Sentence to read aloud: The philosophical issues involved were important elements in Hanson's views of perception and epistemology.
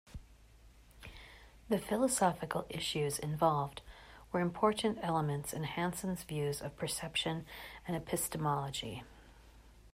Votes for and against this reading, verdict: 2, 0, accepted